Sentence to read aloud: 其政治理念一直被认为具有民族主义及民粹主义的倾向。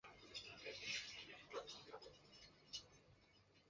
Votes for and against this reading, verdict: 0, 2, rejected